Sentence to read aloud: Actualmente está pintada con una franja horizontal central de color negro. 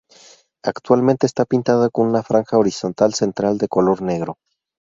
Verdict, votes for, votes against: accepted, 2, 0